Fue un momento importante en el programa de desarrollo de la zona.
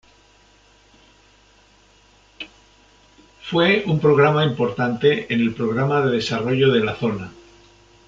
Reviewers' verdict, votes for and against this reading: rejected, 0, 2